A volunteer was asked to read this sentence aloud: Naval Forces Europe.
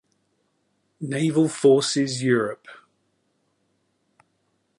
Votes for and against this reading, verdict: 2, 1, accepted